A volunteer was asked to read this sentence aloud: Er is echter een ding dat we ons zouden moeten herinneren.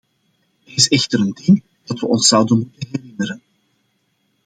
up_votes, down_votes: 0, 2